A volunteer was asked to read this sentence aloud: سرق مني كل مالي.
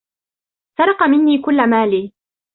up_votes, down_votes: 2, 0